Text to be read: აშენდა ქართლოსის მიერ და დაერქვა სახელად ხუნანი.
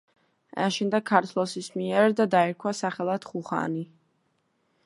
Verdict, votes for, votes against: accepted, 2, 0